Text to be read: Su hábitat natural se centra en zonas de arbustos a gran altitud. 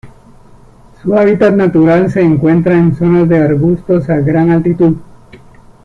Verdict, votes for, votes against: rejected, 0, 2